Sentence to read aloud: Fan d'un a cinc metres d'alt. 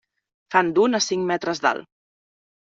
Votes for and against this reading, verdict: 3, 0, accepted